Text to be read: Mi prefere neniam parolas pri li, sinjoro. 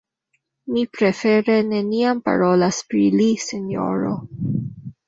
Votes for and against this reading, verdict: 2, 0, accepted